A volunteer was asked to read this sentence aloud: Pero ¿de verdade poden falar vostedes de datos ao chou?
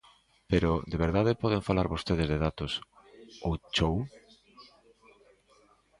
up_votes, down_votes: 2, 0